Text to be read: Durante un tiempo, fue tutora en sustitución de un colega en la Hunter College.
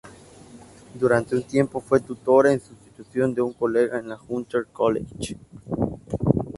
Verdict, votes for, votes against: accepted, 2, 0